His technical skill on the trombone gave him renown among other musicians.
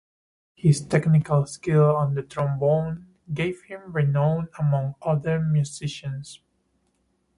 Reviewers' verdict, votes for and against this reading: accepted, 2, 0